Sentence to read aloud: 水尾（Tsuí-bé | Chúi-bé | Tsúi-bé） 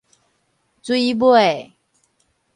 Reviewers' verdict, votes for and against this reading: rejected, 2, 2